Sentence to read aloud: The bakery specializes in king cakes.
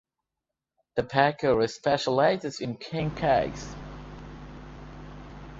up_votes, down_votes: 0, 2